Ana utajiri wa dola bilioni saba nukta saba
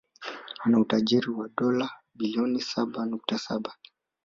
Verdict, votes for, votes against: accepted, 2, 0